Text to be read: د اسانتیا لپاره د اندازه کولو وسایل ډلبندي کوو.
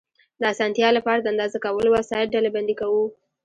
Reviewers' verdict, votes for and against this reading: rejected, 0, 2